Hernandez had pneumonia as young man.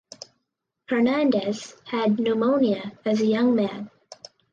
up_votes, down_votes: 4, 0